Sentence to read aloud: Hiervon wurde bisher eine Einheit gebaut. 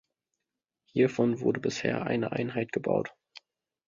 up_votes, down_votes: 2, 0